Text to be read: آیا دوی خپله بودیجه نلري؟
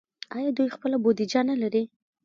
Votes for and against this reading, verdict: 2, 1, accepted